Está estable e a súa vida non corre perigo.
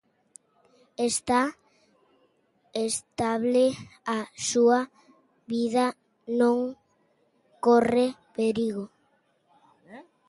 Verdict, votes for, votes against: rejected, 0, 2